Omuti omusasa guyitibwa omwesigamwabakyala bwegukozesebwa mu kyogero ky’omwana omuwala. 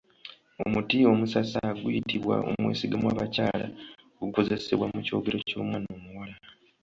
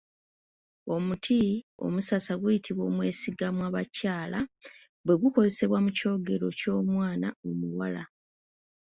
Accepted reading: second